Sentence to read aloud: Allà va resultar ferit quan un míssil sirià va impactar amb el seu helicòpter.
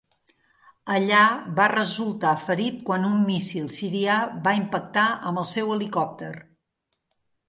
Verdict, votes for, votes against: accepted, 3, 0